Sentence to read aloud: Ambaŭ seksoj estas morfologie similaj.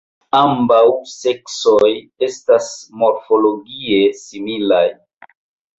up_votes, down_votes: 4, 1